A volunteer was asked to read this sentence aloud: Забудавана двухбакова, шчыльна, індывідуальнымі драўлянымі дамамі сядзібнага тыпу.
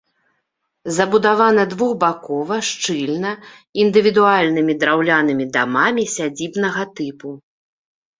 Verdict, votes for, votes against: accepted, 2, 0